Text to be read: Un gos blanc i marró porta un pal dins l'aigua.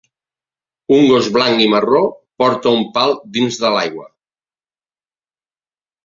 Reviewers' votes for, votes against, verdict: 0, 2, rejected